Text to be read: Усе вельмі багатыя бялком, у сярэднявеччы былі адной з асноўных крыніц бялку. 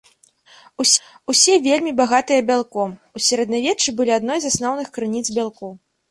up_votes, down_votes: 1, 2